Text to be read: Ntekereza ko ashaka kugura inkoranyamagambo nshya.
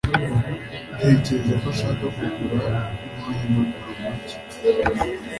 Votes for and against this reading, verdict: 2, 0, accepted